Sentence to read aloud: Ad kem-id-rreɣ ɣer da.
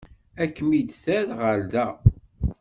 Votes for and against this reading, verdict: 1, 2, rejected